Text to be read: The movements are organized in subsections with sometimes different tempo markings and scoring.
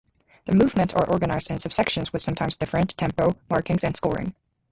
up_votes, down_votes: 2, 0